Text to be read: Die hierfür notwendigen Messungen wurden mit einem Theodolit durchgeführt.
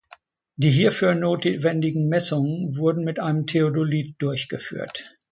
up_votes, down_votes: 0, 2